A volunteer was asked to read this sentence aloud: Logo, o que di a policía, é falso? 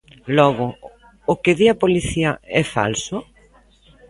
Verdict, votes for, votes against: accepted, 2, 0